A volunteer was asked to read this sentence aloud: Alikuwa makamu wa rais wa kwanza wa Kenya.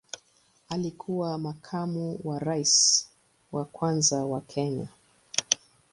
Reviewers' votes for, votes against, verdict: 2, 0, accepted